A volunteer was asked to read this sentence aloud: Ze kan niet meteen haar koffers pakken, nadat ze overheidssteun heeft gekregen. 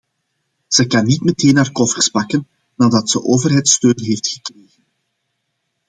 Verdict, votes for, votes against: rejected, 1, 2